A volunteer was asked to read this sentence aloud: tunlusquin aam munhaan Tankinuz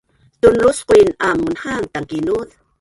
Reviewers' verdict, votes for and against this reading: rejected, 2, 5